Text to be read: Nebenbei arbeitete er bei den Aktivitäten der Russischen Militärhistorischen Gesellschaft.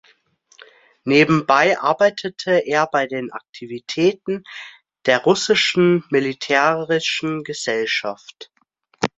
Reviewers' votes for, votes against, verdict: 0, 2, rejected